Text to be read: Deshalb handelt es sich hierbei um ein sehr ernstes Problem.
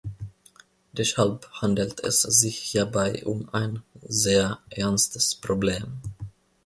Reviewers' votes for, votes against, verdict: 1, 2, rejected